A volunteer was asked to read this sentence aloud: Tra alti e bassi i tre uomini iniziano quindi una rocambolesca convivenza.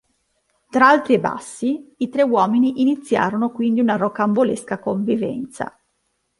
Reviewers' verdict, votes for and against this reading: rejected, 1, 2